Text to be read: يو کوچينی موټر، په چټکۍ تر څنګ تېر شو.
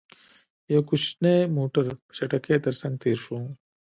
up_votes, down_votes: 1, 2